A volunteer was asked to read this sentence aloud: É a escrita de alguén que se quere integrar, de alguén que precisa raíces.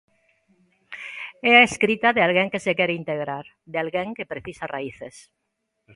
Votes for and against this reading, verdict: 3, 0, accepted